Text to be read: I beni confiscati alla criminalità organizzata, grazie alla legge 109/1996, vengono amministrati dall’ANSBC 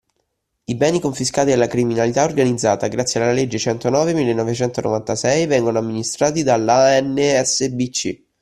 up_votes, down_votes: 0, 2